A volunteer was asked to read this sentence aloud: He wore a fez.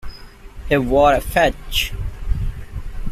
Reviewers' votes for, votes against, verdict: 2, 0, accepted